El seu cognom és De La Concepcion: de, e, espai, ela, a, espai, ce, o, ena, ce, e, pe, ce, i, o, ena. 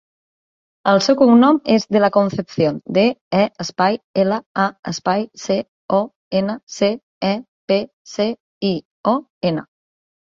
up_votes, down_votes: 3, 1